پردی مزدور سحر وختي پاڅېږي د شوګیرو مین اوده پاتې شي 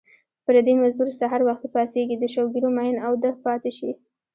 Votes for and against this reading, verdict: 0, 2, rejected